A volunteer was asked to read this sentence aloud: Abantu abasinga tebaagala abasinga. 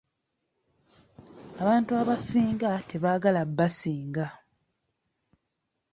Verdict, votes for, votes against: rejected, 0, 2